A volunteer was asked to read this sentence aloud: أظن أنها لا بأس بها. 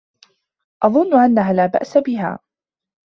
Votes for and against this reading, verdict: 2, 0, accepted